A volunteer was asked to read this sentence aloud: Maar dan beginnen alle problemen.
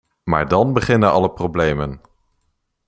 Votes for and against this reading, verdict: 2, 0, accepted